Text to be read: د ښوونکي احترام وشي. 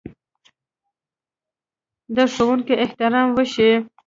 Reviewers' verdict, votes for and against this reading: rejected, 0, 2